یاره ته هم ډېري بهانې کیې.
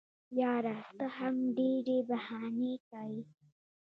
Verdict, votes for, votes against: accepted, 2, 0